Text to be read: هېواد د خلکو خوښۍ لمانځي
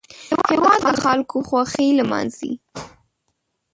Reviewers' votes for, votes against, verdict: 0, 2, rejected